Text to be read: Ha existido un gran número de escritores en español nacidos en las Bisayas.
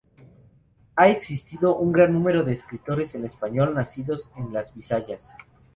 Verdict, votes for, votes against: accepted, 2, 0